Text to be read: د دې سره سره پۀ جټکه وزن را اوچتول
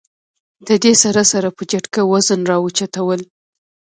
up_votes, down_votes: 0, 2